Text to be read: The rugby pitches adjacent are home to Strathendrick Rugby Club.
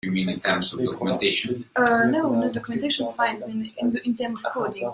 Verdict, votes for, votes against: rejected, 1, 2